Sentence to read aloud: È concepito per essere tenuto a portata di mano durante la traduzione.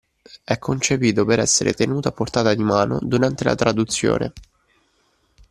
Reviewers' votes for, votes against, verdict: 2, 0, accepted